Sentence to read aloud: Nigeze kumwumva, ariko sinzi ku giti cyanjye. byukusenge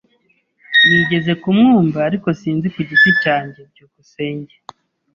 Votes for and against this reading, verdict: 2, 0, accepted